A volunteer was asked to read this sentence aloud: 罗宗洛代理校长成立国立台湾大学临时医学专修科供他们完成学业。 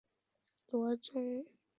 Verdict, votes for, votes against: rejected, 0, 2